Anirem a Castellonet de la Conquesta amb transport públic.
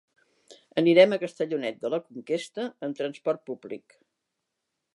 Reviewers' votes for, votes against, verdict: 2, 0, accepted